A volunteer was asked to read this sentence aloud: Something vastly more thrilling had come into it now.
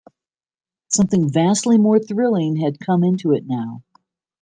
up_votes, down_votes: 2, 0